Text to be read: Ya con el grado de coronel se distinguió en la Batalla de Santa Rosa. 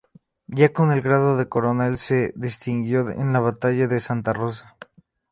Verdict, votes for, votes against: accepted, 2, 0